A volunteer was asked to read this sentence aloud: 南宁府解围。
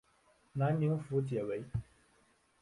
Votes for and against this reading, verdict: 9, 0, accepted